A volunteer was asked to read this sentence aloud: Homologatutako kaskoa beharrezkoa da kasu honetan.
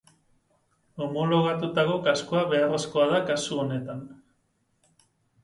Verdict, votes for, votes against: accepted, 2, 0